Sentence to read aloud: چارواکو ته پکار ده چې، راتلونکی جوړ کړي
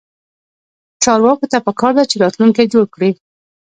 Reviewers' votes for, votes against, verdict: 0, 2, rejected